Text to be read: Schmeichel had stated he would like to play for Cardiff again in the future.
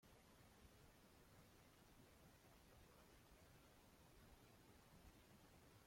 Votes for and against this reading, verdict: 0, 2, rejected